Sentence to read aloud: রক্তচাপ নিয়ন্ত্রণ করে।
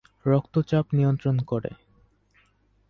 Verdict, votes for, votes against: accepted, 2, 0